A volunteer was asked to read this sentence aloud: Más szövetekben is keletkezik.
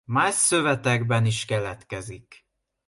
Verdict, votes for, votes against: accepted, 2, 0